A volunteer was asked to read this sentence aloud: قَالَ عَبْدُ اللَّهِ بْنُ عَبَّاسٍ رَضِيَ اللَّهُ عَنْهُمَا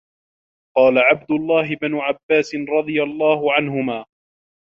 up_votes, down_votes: 2, 0